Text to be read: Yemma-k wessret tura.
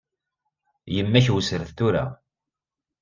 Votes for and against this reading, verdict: 2, 0, accepted